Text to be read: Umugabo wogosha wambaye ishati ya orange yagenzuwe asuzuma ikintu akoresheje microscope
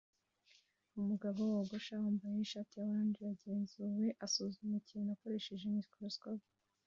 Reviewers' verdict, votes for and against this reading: accepted, 2, 0